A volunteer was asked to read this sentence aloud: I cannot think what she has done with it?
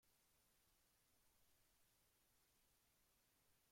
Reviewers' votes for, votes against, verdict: 0, 2, rejected